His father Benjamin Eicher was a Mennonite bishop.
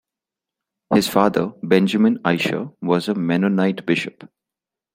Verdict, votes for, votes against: rejected, 1, 2